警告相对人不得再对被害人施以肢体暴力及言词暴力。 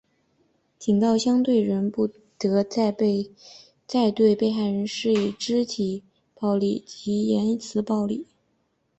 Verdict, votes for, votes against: rejected, 1, 2